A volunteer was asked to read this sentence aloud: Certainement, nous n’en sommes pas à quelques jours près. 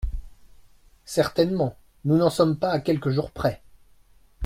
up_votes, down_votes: 2, 0